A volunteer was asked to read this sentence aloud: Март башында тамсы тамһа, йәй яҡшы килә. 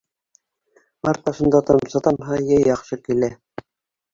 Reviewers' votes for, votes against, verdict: 2, 0, accepted